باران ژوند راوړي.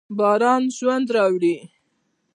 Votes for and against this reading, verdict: 2, 0, accepted